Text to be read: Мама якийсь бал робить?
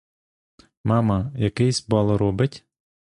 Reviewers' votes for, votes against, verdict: 1, 2, rejected